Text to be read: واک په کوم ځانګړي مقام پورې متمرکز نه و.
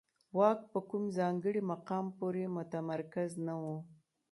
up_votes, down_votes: 1, 2